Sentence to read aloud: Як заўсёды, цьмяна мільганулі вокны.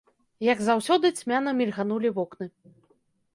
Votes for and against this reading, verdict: 2, 0, accepted